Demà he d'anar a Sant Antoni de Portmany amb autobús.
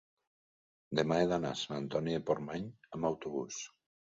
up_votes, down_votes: 2, 0